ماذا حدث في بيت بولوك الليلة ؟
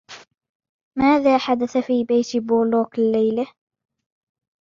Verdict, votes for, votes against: accepted, 2, 0